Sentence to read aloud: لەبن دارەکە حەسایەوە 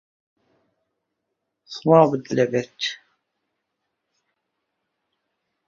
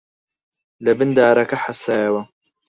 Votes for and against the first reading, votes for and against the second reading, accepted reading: 0, 2, 4, 0, second